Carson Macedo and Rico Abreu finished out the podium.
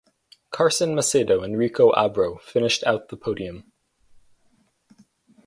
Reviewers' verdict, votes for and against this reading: accepted, 4, 0